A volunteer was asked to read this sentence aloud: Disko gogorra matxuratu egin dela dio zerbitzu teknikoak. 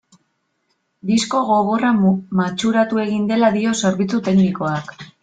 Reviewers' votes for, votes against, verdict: 1, 2, rejected